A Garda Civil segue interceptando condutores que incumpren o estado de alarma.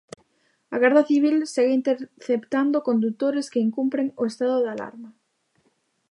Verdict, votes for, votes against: rejected, 1, 2